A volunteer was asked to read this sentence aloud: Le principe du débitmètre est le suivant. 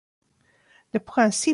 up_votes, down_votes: 0, 2